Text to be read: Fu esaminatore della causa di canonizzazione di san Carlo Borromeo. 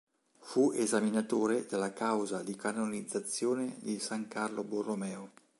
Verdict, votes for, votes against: accepted, 2, 0